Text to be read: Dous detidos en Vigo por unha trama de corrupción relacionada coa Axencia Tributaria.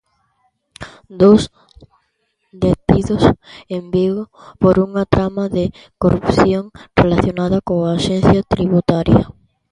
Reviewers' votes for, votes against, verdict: 1, 2, rejected